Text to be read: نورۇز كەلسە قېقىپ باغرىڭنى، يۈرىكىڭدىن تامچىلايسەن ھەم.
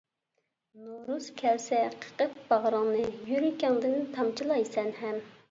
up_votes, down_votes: 2, 0